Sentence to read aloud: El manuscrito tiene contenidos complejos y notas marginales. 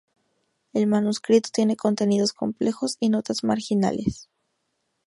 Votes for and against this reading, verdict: 4, 0, accepted